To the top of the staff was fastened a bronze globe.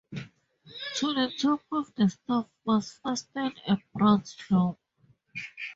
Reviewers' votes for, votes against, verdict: 0, 2, rejected